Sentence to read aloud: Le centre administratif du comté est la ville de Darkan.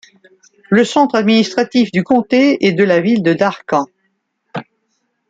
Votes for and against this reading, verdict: 1, 2, rejected